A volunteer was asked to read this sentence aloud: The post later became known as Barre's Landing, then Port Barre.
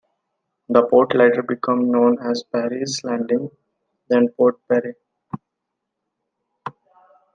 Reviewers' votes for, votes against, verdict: 0, 2, rejected